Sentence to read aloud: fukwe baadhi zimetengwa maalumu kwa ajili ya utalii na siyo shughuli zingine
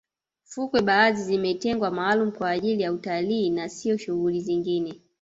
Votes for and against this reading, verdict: 1, 2, rejected